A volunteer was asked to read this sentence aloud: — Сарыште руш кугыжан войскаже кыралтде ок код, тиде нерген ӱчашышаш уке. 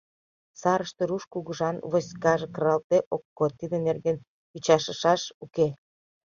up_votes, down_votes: 2, 0